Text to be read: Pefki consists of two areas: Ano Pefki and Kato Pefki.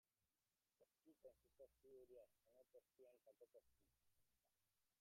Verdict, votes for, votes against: rejected, 0, 2